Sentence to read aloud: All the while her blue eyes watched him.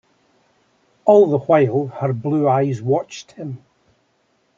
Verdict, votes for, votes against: accepted, 2, 0